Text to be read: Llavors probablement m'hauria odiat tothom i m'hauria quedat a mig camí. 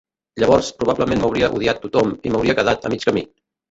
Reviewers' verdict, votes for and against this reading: rejected, 1, 2